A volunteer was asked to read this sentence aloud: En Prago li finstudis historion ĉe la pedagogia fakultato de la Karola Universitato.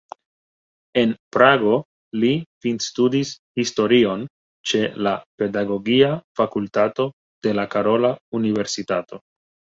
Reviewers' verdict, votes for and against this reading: accepted, 2, 0